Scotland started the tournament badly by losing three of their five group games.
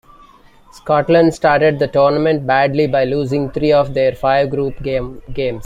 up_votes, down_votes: 1, 2